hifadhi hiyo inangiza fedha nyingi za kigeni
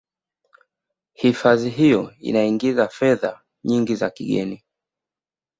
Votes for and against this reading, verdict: 2, 0, accepted